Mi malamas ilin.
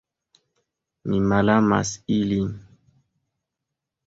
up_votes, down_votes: 1, 2